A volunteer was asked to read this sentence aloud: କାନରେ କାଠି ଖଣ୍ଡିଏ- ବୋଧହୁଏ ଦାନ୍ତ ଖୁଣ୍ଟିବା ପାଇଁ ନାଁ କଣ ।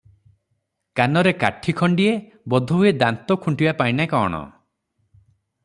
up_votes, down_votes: 6, 0